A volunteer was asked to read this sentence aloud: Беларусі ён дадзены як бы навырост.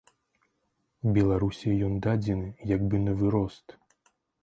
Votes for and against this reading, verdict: 2, 0, accepted